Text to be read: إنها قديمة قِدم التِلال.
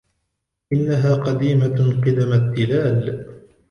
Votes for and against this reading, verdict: 2, 0, accepted